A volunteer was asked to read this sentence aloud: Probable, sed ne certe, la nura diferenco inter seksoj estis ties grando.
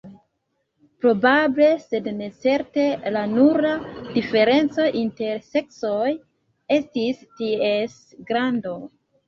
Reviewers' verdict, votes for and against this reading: accepted, 2, 0